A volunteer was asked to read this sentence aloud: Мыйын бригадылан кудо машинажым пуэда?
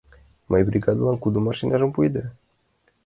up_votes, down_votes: 2, 1